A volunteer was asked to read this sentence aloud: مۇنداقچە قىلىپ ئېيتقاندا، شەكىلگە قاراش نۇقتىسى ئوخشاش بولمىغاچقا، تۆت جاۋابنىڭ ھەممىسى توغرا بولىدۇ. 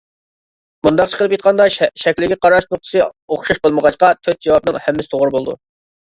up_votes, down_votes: 0, 2